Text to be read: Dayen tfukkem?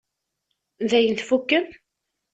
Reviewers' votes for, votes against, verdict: 2, 0, accepted